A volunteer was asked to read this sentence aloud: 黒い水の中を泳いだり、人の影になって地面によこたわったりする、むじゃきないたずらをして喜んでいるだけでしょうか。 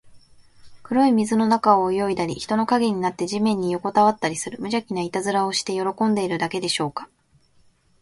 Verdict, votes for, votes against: accepted, 2, 0